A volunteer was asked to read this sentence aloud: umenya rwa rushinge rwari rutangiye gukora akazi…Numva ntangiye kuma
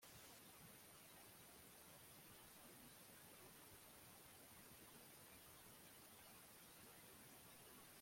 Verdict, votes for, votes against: rejected, 1, 2